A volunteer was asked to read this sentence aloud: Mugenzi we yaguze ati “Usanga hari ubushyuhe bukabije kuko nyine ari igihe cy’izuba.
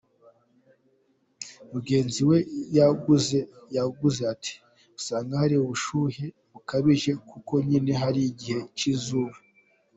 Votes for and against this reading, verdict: 0, 2, rejected